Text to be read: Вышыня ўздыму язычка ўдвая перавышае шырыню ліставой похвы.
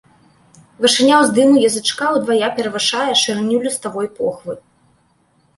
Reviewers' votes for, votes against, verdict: 2, 0, accepted